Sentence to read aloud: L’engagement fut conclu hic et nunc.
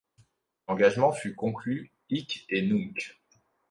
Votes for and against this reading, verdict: 2, 0, accepted